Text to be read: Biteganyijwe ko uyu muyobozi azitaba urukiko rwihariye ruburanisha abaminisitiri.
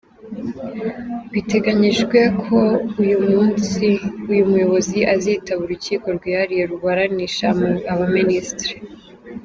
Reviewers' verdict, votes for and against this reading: rejected, 1, 2